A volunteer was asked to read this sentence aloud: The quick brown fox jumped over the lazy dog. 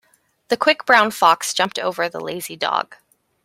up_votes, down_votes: 2, 0